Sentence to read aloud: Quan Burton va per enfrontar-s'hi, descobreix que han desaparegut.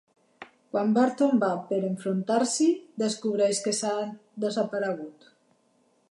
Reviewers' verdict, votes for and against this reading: rejected, 0, 2